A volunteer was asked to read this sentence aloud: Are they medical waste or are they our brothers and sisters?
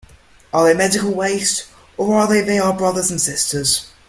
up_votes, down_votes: 1, 2